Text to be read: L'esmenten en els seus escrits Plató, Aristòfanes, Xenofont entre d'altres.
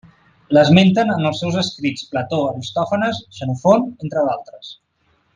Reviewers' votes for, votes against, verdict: 2, 0, accepted